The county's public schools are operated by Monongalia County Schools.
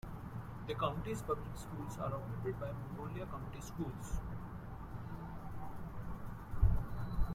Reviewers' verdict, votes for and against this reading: rejected, 0, 2